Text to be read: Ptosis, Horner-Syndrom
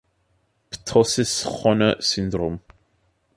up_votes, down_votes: 2, 1